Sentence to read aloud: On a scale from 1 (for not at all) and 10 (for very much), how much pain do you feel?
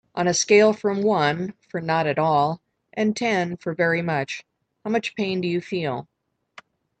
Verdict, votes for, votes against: rejected, 0, 2